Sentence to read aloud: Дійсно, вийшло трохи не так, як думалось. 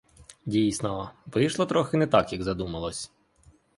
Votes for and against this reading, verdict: 2, 3, rejected